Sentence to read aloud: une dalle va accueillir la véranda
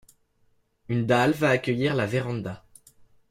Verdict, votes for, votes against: accepted, 2, 0